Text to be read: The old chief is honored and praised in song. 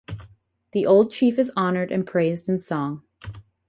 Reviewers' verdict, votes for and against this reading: accepted, 4, 0